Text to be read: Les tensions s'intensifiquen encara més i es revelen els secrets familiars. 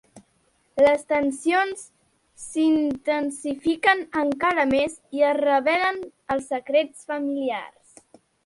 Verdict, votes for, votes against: accepted, 2, 0